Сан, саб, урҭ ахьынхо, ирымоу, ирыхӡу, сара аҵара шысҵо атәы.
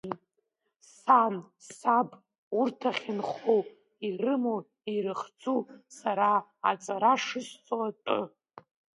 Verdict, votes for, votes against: rejected, 1, 2